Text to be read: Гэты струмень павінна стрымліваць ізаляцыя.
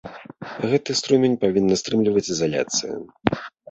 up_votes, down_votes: 1, 3